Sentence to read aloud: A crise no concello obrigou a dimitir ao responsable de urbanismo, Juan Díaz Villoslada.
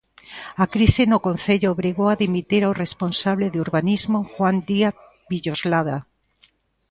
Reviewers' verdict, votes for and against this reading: accepted, 2, 0